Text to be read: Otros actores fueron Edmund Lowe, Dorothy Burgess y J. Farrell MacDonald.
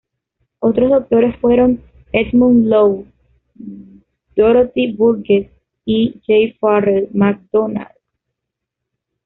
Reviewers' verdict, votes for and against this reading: accepted, 2, 0